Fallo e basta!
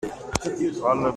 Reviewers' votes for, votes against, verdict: 0, 2, rejected